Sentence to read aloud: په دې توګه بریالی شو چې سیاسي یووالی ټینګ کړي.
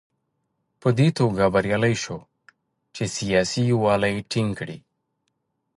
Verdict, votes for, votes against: accepted, 3, 0